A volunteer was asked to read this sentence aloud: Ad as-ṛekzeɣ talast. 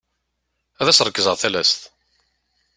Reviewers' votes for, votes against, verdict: 2, 0, accepted